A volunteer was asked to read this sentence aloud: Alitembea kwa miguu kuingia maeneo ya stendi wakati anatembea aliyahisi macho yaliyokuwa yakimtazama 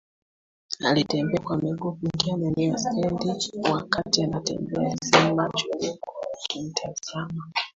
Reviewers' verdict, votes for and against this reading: rejected, 0, 2